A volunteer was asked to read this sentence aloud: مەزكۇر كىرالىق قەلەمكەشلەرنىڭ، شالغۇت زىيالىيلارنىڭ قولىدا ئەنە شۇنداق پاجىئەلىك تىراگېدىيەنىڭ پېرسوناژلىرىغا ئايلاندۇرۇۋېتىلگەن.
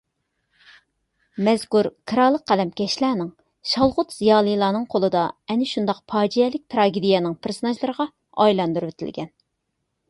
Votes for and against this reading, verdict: 2, 0, accepted